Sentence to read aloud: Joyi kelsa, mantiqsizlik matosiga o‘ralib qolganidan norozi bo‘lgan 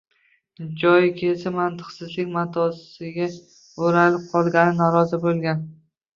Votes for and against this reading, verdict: 1, 3, rejected